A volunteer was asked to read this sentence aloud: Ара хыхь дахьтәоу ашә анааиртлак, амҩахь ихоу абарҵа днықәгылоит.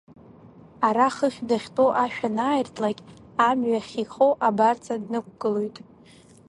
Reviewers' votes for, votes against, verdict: 1, 2, rejected